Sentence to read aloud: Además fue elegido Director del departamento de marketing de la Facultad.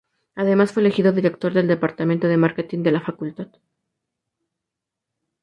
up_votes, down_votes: 0, 2